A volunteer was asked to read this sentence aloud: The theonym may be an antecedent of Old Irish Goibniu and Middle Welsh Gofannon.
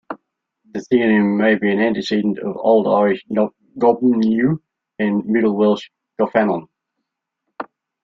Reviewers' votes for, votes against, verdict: 0, 2, rejected